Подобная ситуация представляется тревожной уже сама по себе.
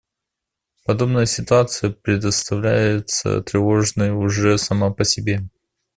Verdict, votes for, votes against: accepted, 2, 0